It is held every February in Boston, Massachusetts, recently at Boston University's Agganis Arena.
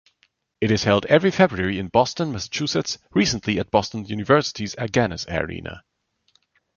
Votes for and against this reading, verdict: 1, 2, rejected